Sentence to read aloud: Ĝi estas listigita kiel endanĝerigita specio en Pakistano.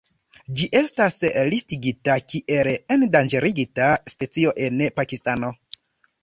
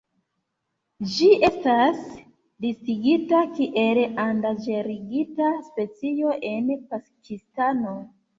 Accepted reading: second